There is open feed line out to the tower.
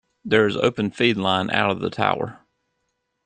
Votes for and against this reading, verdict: 0, 2, rejected